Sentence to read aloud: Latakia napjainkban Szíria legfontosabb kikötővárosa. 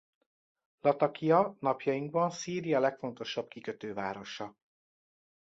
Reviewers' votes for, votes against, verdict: 2, 0, accepted